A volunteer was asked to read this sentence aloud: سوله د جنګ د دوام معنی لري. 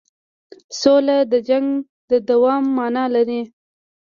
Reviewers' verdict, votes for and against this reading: rejected, 1, 2